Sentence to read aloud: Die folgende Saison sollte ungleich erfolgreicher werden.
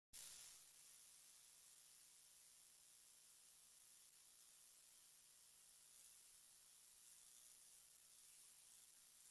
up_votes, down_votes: 0, 2